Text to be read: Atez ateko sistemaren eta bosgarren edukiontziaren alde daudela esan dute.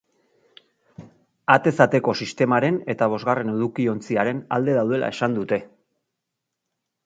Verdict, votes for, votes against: accepted, 2, 0